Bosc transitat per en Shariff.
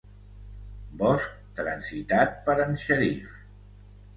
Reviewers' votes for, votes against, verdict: 2, 0, accepted